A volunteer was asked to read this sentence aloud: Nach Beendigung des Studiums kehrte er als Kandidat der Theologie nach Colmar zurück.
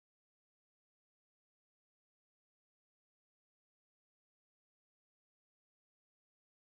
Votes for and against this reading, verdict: 0, 2, rejected